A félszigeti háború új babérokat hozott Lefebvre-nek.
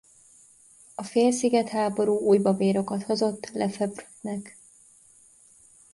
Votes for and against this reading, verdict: 0, 2, rejected